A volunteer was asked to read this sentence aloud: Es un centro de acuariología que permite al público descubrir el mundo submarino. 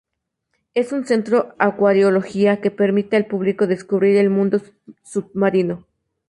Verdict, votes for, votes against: rejected, 0, 4